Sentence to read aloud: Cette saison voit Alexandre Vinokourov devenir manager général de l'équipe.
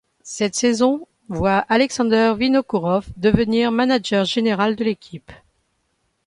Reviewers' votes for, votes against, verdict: 1, 2, rejected